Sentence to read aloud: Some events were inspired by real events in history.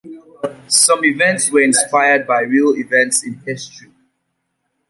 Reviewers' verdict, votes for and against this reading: accepted, 2, 0